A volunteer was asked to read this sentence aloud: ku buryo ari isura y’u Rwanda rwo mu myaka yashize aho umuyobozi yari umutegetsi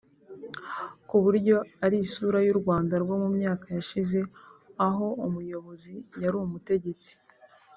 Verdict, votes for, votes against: accepted, 2, 0